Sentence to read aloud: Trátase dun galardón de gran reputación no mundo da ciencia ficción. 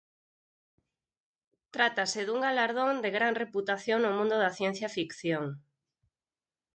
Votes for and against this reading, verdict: 4, 0, accepted